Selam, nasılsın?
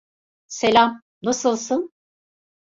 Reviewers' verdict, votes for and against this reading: accepted, 2, 0